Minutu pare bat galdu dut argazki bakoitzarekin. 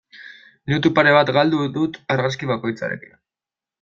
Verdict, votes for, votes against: rejected, 1, 2